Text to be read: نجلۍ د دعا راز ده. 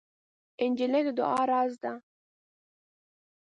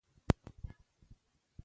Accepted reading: first